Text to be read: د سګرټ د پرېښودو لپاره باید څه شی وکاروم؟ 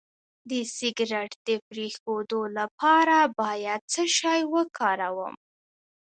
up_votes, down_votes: 0, 2